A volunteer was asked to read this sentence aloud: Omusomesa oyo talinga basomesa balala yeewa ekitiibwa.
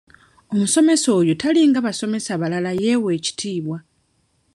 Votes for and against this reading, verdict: 3, 1, accepted